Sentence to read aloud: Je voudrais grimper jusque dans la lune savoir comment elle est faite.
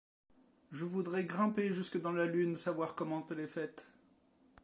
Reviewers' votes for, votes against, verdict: 2, 0, accepted